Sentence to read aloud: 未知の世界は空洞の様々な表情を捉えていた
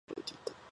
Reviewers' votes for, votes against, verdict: 0, 2, rejected